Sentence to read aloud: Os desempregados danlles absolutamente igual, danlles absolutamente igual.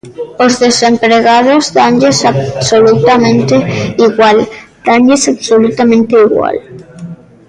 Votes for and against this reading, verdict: 0, 2, rejected